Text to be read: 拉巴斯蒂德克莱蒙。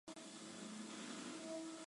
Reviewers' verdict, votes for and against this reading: rejected, 0, 2